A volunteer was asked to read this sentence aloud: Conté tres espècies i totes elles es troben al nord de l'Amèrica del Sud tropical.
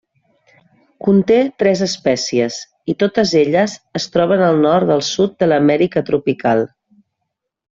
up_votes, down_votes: 0, 2